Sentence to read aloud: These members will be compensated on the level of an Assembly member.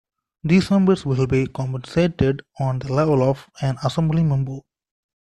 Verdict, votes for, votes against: accepted, 2, 0